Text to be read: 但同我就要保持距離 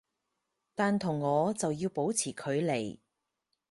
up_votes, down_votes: 4, 0